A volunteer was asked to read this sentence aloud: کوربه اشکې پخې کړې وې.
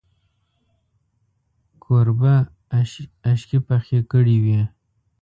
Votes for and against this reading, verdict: 1, 2, rejected